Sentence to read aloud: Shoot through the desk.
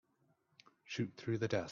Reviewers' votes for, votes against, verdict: 0, 2, rejected